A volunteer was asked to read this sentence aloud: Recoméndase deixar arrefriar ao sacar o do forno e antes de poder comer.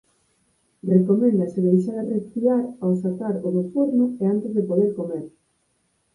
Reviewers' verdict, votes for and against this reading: accepted, 4, 2